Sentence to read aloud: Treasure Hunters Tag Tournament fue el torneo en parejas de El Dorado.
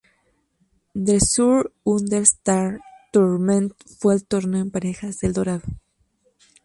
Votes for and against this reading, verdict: 0, 2, rejected